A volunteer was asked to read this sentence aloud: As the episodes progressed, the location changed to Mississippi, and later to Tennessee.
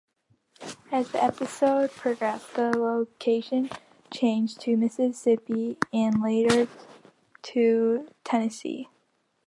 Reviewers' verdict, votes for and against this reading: accepted, 2, 0